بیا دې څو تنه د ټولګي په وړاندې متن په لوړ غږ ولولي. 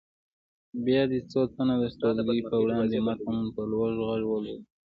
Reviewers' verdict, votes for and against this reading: accepted, 2, 1